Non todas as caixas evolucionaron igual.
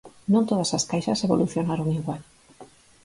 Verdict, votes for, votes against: accepted, 4, 0